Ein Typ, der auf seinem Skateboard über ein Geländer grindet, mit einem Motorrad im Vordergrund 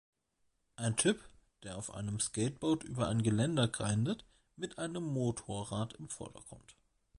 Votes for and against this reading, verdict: 1, 2, rejected